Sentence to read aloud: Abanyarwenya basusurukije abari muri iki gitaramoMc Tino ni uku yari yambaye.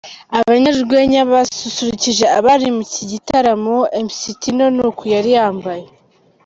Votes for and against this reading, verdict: 0, 2, rejected